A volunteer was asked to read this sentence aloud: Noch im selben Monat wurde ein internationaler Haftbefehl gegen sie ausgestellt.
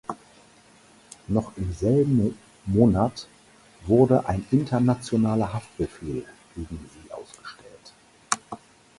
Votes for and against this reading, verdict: 0, 4, rejected